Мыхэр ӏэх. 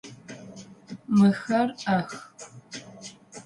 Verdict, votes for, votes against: accepted, 3, 0